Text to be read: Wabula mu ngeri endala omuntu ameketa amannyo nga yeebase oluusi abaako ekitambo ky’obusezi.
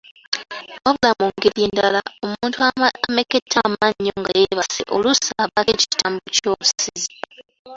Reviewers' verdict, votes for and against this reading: rejected, 0, 3